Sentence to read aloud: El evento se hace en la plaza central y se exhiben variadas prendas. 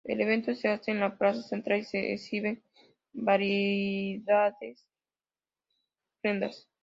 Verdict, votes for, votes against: rejected, 0, 2